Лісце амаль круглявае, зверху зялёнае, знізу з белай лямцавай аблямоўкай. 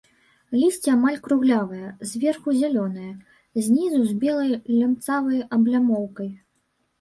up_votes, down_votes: 0, 2